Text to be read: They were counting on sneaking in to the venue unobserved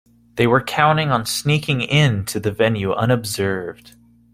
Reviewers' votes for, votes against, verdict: 2, 0, accepted